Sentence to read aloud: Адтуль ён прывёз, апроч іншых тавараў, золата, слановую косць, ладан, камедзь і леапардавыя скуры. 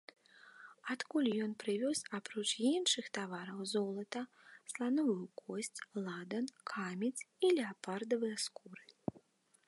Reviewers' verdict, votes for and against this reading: rejected, 0, 2